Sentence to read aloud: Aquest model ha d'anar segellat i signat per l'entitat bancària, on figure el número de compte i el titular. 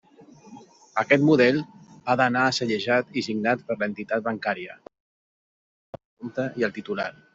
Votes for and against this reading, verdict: 0, 2, rejected